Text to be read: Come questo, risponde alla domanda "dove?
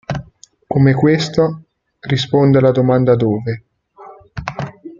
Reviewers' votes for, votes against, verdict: 2, 0, accepted